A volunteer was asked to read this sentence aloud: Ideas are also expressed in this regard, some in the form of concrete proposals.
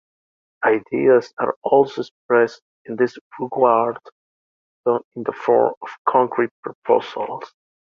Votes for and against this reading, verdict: 1, 2, rejected